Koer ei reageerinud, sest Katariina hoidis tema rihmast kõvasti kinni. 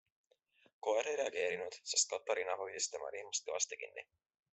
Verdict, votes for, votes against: accepted, 2, 0